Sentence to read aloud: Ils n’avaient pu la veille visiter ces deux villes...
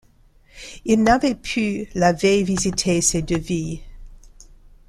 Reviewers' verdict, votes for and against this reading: rejected, 0, 2